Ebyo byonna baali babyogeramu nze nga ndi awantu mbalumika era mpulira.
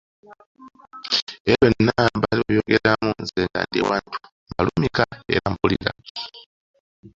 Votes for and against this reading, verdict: 2, 0, accepted